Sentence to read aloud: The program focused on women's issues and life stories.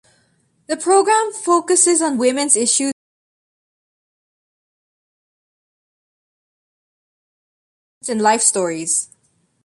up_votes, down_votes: 0, 2